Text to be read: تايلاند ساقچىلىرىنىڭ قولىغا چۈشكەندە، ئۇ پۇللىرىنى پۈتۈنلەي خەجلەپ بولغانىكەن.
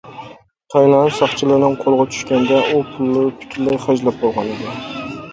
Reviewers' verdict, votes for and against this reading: rejected, 0, 2